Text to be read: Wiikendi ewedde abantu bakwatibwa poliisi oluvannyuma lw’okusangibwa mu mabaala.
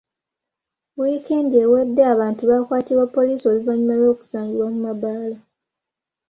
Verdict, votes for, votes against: accepted, 3, 0